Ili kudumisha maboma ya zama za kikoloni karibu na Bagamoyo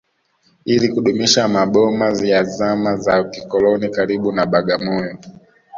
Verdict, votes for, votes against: accepted, 2, 0